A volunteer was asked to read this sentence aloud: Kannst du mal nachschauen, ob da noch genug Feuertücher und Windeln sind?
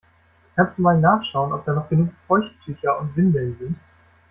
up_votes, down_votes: 0, 2